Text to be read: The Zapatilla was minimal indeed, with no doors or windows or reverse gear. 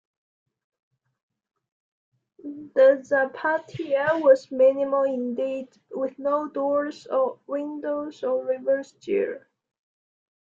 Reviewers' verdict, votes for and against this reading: accepted, 3, 0